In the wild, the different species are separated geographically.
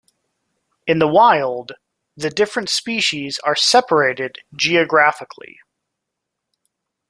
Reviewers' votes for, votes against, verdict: 2, 0, accepted